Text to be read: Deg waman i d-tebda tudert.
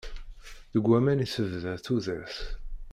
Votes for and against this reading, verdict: 0, 2, rejected